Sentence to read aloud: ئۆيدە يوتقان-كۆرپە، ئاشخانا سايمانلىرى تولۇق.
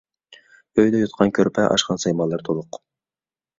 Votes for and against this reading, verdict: 2, 0, accepted